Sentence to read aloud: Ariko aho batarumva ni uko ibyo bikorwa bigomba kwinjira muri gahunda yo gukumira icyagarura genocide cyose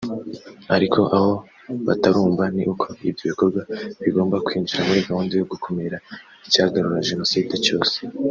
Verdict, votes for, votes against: accepted, 2, 0